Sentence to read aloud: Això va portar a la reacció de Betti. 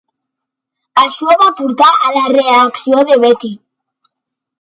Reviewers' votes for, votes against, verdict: 4, 1, accepted